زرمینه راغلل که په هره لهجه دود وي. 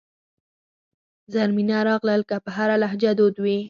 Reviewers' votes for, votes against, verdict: 2, 4, rejected